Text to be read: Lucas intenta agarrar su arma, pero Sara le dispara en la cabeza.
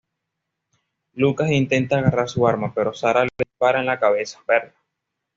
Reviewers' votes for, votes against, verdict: 2, 0, accepted